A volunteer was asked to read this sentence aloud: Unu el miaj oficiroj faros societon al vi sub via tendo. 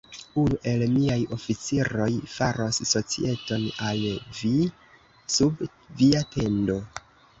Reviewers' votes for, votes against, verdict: 0, 2, rejected